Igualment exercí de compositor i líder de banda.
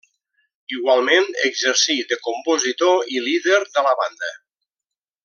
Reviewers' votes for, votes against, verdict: 1, 2, rejected